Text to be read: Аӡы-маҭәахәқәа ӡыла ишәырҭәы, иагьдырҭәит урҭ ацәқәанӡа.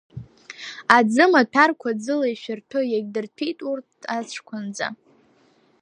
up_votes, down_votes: 1, 3